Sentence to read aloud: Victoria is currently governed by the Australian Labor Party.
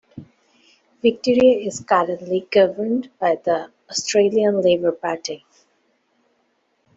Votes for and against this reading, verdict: 2, 1, accepted